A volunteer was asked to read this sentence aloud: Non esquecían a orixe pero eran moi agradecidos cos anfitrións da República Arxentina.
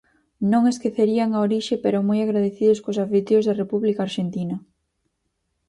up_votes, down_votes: 0, 4